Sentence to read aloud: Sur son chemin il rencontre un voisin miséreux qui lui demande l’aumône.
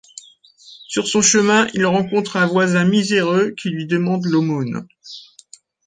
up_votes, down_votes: 3, 0